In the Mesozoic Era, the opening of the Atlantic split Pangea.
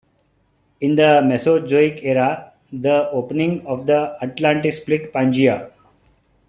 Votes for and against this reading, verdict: 2, 0, accepted